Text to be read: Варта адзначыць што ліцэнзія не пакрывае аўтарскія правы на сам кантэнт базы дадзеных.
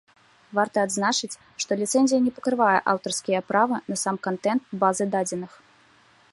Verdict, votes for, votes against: rejected, 0, 2